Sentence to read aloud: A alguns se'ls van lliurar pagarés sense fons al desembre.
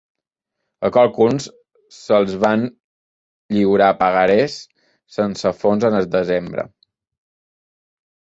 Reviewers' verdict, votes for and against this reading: rejected, 0, 2